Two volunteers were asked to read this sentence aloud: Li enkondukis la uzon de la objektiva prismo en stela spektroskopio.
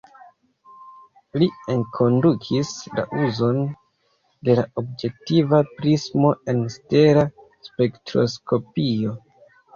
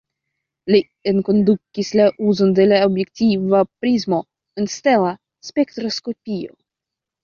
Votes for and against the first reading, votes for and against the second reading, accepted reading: 1, 2, 2, 0, second